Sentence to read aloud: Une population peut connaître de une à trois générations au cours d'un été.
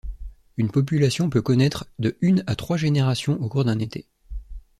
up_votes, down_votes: 2, 0